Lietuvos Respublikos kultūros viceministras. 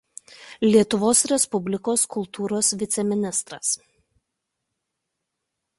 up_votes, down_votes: 2, 0